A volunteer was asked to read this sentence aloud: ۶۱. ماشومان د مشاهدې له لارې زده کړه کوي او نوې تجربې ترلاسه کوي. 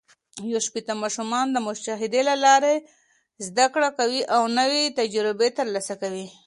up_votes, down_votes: 0, 2